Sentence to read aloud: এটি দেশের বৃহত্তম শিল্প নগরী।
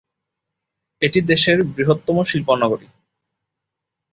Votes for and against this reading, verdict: 2, 0, accepted